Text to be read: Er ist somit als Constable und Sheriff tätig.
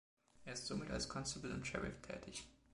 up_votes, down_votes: 2, 0